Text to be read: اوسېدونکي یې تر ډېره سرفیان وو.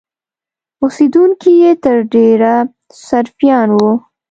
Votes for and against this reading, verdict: 2, 0, accepted